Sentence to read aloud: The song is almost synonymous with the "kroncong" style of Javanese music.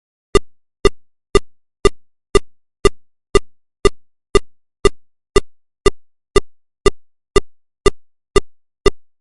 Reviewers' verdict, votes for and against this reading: rejected, 0, 2